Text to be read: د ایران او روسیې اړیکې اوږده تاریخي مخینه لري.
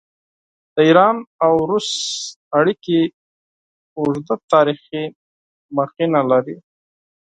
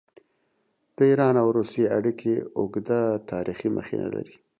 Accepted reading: second